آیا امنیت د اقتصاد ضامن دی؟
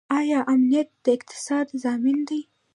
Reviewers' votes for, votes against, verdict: 0, 2, rejected